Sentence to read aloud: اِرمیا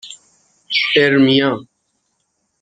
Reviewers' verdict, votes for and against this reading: accepted, 6, 0